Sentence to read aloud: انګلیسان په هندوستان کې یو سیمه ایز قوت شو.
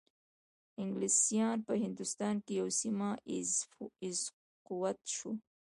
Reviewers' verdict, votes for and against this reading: rejected, 0, 2